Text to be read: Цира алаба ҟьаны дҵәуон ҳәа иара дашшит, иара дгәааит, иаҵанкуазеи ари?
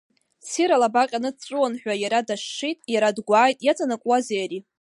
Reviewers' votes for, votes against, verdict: 2, 0, accepted